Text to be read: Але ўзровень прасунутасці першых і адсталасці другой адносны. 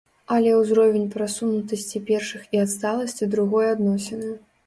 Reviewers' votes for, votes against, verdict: 0, 2, rejected